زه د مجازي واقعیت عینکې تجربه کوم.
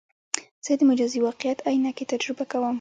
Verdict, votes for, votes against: accepted, 2, 1